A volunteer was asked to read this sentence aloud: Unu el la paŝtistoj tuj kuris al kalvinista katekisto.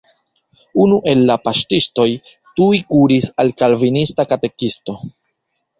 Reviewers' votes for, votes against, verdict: 1, 2, rejected